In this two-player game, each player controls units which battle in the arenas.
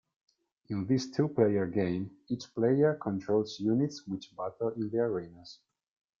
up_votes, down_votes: 2, 0